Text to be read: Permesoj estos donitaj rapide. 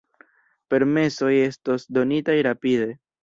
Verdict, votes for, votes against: rejected, 0, 2